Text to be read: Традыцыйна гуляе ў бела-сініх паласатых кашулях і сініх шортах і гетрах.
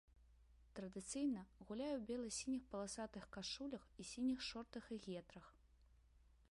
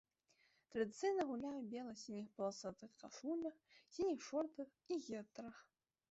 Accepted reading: first